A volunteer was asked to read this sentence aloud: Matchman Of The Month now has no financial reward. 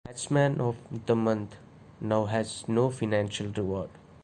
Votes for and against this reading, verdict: 1, 2, rejected